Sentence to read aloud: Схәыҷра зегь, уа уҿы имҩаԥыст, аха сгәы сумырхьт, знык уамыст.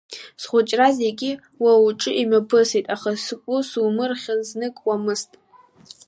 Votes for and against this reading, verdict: 0, 2, rejected